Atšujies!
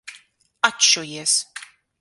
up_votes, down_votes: 6, 0